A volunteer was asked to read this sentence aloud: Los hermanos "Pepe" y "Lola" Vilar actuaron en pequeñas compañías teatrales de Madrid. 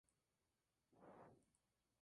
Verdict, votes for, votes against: rejected, 0, 2